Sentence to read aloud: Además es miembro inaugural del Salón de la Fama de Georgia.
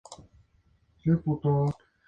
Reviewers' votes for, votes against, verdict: 0, 4, rejected